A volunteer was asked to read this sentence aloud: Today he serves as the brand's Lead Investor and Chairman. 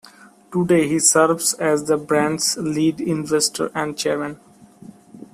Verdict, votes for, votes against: accepted, 2, 0